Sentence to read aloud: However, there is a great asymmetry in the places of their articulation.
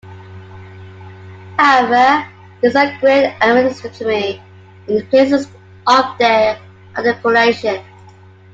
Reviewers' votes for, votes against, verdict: 0, 2, rejected